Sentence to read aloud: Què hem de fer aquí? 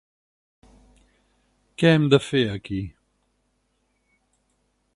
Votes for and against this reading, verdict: 6, 0, accepted